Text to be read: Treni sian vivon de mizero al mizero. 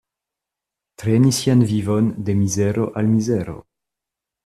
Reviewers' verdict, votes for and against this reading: accepted, 2, 1